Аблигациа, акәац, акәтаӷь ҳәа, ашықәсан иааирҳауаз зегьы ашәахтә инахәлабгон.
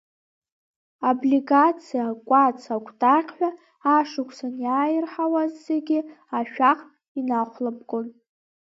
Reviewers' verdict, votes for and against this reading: accepted, 2, 1